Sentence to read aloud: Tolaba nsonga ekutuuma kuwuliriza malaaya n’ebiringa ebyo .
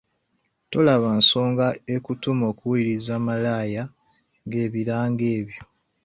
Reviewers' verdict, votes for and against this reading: rejected, 0, 2